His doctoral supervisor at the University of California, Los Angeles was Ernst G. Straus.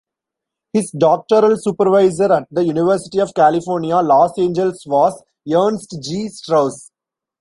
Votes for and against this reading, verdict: 1, 2, rejected